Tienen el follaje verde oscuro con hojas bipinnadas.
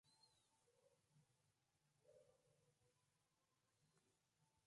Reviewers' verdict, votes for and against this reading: rejected, 0, 2